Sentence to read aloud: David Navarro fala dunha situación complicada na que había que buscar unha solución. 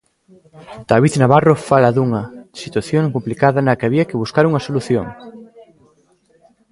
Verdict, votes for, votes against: rejected, 0, 2